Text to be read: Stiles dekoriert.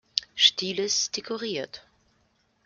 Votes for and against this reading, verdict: 2, 0, accepted